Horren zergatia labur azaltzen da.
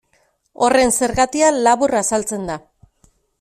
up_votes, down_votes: 2, 0